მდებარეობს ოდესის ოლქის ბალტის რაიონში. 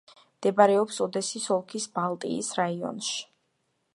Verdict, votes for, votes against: rejected, 0, 2